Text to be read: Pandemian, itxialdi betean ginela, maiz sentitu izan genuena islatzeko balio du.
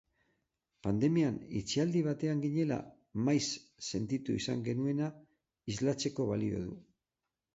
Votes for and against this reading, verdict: 0, 6, rejected